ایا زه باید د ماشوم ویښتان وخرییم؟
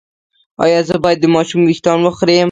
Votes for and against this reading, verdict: 0, 2, rejected